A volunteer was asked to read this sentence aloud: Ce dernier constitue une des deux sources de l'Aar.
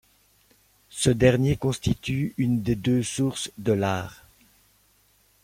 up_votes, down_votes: 2, 0